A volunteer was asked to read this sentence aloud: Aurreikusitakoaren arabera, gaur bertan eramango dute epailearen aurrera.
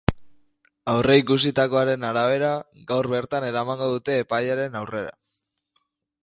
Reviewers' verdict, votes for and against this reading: accepted, 3, 0